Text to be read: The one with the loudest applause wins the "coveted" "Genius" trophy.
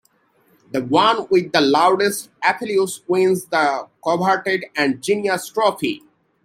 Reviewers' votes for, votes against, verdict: 0, 2, rejected